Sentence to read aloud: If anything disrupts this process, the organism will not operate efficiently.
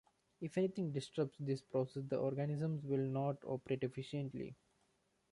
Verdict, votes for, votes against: accepted, 2, 0